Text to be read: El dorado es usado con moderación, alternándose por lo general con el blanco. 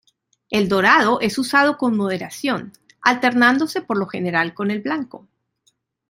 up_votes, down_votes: 2, 0